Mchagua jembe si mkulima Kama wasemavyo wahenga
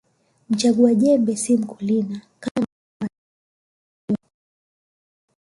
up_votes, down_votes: 0, 2